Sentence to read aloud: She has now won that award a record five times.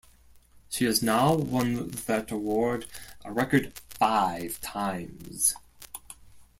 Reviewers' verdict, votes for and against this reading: accepted, 2, 0